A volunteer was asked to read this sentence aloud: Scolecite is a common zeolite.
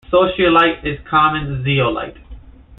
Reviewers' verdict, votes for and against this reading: rejected, 1, 2